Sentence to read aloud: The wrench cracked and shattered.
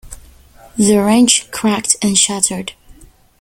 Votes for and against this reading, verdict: 2, 0, accepted